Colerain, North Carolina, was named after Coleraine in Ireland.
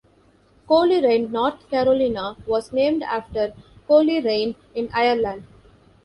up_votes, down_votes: 2, 0